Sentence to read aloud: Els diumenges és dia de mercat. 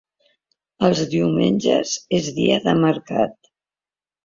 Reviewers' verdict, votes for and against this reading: accepted, 2, 0